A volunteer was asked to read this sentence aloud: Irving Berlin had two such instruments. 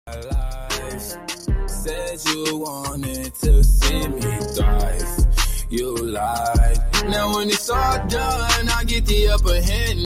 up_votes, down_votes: 0, 2